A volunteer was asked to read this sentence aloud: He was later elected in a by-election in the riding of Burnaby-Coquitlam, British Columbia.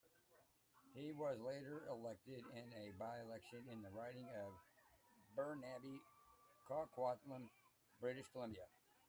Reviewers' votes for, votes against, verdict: 0, 2, rejected